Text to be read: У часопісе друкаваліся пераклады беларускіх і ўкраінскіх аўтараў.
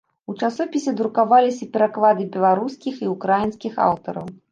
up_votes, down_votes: 0, 2